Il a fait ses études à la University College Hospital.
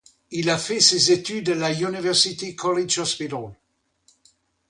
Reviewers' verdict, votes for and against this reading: rejected, 0, 2